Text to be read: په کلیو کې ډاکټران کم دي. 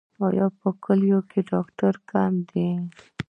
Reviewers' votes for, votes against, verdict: 0, 2, rejected